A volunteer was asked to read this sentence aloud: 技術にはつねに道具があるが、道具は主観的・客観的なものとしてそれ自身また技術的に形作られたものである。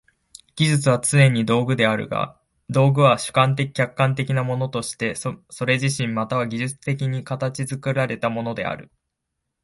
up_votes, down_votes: 0, 2